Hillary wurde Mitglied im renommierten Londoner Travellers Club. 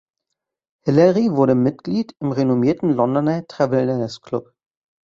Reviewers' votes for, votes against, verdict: 1, 2, rejected